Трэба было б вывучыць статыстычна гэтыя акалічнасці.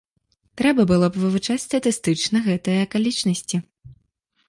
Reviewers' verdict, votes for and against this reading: rejected, 1, 2